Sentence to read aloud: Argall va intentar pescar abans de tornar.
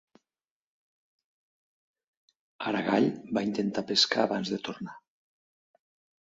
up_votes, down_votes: 0, 3